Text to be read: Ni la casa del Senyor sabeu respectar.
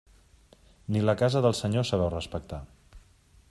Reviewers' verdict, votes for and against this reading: accepted, 2, 0